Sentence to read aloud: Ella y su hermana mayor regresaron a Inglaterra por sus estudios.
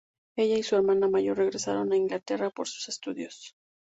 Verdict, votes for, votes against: rejected, 0, 2